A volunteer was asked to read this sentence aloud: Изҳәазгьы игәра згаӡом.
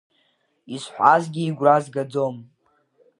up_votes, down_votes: 2, 1